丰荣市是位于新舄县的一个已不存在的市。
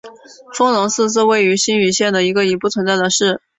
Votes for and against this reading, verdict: 2, 0, accepted